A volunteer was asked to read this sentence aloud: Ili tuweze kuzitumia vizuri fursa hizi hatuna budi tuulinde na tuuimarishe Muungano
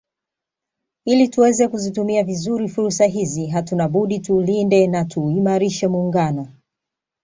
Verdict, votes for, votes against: accepted, 2, 0